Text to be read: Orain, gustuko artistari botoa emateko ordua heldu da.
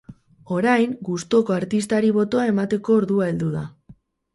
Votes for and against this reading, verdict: 2, 4, rejected